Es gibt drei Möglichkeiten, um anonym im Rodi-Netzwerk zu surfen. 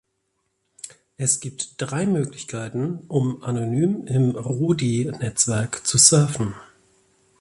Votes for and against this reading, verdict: 2, 0, accepted